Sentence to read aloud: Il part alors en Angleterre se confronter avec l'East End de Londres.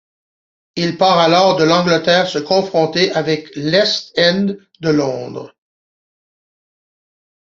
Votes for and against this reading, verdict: 0, 2, rejected